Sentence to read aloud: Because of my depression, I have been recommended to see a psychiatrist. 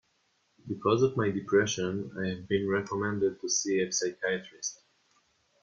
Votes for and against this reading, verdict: 2, 0, accepted